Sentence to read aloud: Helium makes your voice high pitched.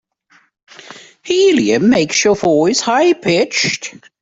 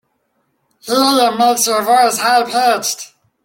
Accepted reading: second